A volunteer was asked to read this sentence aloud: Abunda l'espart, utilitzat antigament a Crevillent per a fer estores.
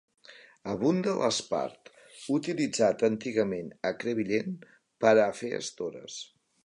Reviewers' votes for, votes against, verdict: 3, 0, accepted